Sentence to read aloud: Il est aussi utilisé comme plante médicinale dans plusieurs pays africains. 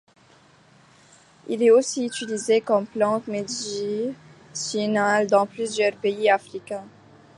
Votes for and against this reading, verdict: 2, 1, accepted